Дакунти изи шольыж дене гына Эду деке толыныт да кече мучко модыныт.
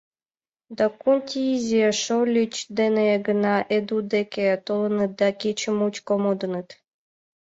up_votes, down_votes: 1, 2